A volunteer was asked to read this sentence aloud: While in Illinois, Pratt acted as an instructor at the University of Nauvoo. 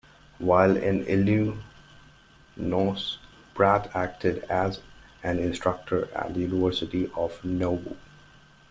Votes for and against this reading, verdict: 0, 2, rejected